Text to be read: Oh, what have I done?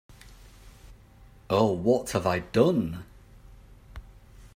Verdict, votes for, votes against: accepted, 2, 0